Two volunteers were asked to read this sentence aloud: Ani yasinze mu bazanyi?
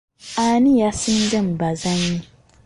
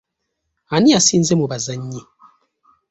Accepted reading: first